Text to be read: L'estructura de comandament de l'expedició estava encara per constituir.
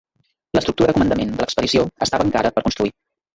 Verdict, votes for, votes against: rejected, 1, 2